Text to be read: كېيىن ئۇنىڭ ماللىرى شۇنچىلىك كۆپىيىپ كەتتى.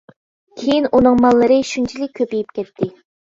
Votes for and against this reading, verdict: 2, 0, accepted